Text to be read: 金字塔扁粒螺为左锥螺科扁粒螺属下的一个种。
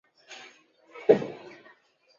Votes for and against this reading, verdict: 3, 0, accepted